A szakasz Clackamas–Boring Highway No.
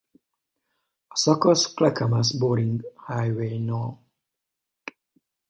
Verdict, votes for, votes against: rejected, 0, 2